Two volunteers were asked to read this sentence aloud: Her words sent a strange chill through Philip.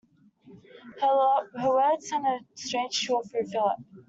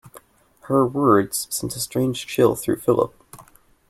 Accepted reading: second